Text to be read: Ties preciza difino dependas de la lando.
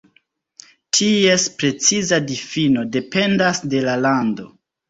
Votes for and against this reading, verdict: 2, 1, accepted